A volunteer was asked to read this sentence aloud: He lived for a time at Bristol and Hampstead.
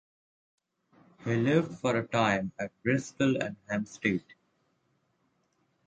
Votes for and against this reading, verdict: 2, 0, accepted